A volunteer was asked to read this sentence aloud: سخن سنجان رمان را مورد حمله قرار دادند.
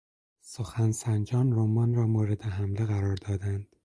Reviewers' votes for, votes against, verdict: 4, 0, accepted